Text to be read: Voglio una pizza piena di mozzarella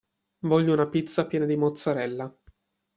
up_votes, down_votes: 2, 0